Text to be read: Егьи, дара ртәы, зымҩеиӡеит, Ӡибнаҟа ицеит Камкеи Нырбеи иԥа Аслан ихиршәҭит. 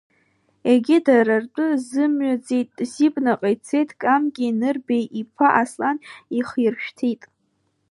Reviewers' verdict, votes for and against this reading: rejected, 0, 2